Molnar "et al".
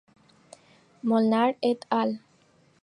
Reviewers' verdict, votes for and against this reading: accepted, 4, 0